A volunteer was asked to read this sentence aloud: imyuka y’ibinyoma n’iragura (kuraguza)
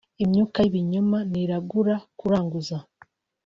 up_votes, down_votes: 1, 2